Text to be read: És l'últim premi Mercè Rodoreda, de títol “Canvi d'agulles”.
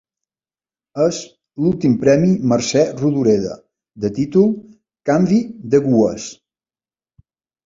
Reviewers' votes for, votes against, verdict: 0, 2, rejected